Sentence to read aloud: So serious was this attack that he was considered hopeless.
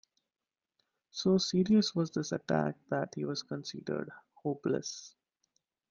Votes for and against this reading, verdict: 2, 0, accepted